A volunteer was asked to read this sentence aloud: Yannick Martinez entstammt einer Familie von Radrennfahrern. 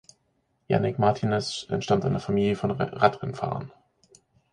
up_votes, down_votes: 1, 2